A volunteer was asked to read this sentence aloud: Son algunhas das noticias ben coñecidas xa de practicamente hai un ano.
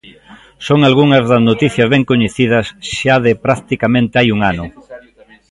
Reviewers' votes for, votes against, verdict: 2, 1, accepted